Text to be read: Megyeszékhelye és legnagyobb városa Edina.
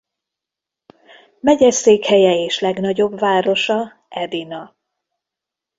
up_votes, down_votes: 2, 0